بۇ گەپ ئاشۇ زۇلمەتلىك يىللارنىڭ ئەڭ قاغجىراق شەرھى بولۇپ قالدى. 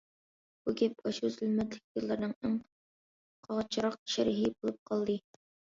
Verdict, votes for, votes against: accepted, 2, 1